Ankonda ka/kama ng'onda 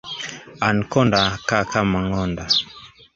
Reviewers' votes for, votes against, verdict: 1, 2, rejected